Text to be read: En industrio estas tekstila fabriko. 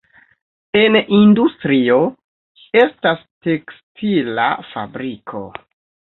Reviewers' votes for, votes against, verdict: 0, 2, rejected